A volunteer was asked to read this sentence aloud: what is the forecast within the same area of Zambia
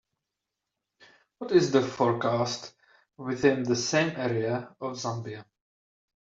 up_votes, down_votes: 3, 1